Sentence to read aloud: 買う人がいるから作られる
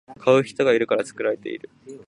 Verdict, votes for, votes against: rejected, 1, 2